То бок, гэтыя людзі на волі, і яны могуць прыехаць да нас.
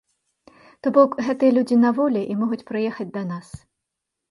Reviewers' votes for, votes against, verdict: 0, 2, rejected